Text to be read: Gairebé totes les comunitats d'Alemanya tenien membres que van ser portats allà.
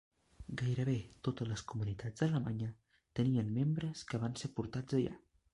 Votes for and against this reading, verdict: 1, 2, rejected